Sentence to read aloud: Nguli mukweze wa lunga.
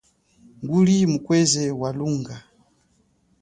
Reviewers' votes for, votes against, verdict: 2, 0, accepted